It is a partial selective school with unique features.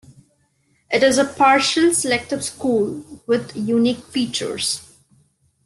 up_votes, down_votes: 2, 0